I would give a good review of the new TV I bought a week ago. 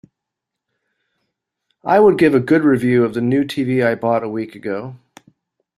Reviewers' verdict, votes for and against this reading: accepted, 4, 0